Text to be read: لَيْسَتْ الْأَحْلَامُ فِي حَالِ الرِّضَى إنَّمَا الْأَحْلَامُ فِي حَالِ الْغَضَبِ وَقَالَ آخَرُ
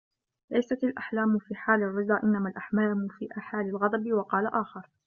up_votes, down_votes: 0, 2